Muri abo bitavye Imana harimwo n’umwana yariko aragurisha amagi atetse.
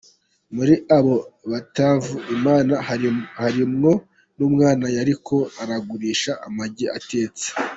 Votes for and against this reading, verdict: 1, 2, rejected